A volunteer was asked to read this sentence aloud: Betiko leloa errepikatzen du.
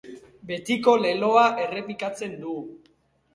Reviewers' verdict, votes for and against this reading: accepted, 3, 0